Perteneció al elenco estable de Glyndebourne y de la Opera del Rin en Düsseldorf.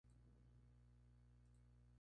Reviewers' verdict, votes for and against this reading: rejected, 0, 2